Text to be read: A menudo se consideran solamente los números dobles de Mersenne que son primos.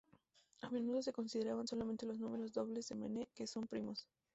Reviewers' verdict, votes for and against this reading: rejected, 0, 2